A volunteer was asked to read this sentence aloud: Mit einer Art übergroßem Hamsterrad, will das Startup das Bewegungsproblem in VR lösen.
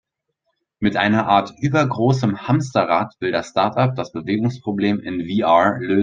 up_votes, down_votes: 4, 6